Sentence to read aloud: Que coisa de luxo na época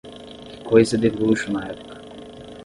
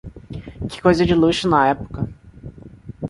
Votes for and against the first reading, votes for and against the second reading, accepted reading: 0, 5, 2, 0, second